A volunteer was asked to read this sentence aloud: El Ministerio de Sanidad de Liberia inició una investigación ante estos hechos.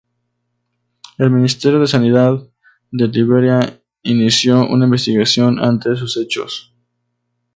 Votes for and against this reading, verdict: 2, 0, accepted